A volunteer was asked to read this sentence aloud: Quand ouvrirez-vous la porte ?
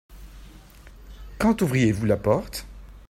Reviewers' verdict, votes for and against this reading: rejected, 0, 2